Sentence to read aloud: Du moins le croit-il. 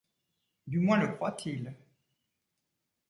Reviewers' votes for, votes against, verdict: 2, 0, accepted